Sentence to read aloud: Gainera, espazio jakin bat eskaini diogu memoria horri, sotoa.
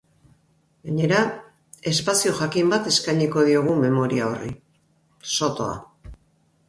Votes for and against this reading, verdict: 0, 2, rejected